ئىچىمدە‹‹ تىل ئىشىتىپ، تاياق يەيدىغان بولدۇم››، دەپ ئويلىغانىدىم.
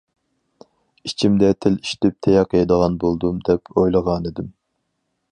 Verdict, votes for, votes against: rejected, 2, 4